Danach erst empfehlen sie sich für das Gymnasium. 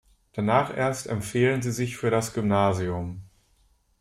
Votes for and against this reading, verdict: 2, 0, accepted